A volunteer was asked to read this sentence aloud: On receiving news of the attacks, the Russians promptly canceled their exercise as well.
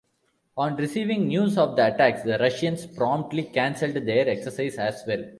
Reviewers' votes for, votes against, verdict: 1, 2, rejected